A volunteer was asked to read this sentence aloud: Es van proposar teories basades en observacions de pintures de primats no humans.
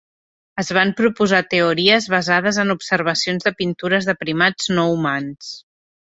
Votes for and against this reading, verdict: 5, 0, accepted